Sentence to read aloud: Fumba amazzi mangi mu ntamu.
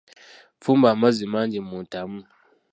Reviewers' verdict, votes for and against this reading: rejected, 1, 2